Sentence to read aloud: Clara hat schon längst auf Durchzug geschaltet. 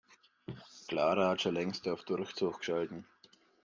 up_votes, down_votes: 0, 2